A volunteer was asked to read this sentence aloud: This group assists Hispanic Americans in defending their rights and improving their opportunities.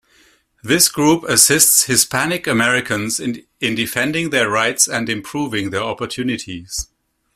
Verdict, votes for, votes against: rejected, 1, 2